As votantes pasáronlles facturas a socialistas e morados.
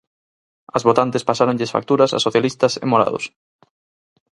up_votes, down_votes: 4, 0